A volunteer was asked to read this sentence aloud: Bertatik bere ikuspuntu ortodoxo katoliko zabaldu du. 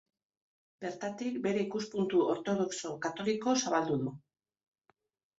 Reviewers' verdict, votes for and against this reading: accepted, 2, 1